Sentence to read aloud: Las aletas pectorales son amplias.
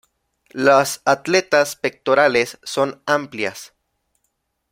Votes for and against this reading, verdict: 0, 2, rejected